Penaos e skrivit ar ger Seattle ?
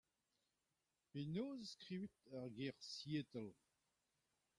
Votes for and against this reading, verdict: 0, 2, rejected